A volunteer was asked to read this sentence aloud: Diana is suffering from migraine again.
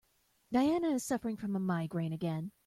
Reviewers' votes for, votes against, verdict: 0, 2, rejected